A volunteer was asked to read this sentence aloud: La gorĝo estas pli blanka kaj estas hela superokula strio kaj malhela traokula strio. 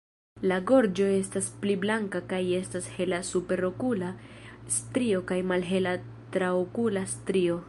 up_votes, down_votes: 1, 2